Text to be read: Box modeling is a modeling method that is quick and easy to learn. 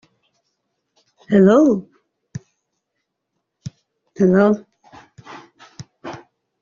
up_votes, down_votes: 0, 3